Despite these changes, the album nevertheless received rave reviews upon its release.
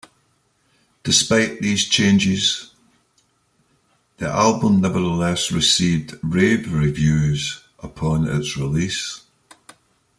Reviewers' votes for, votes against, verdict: 2, 0, accepted